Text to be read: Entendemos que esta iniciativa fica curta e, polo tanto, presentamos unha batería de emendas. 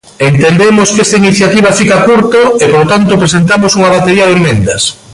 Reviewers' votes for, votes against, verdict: 0, 2, rejected